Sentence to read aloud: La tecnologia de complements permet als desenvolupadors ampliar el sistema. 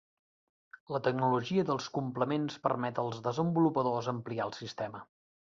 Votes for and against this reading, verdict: 0, 2, rejected